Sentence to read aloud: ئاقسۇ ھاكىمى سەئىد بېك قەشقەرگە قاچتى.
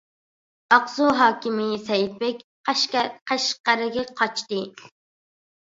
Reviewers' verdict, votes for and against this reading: rejected, 0, 2